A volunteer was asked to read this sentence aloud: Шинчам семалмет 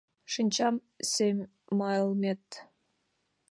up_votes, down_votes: 2, 0